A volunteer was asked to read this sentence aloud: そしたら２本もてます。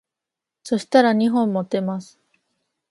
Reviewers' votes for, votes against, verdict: 0, 2, rejected